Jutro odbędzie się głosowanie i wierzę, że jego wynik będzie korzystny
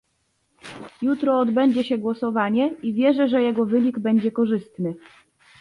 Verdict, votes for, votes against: accepted, 2, 0